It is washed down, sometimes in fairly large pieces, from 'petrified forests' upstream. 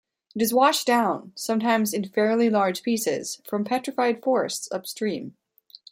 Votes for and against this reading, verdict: 2, 0, accepted